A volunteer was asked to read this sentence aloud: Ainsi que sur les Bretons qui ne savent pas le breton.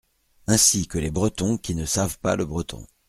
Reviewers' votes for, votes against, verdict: 1, 2, rejected